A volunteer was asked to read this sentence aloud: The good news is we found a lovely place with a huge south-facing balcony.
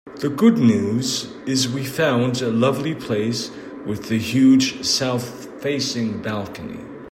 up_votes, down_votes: 2, 0